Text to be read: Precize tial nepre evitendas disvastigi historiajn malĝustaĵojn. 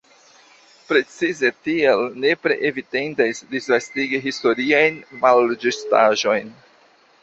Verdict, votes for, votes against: accepted, 2, 1